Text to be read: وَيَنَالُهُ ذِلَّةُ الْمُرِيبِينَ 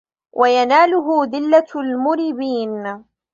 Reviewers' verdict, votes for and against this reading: accepted, 2, 1